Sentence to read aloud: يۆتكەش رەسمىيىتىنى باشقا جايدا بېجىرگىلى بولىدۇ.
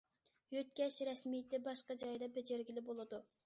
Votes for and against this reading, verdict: 0, 2, rejected